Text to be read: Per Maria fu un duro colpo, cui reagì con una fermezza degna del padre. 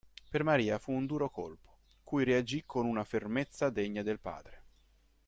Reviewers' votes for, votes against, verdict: 2, 0, accepted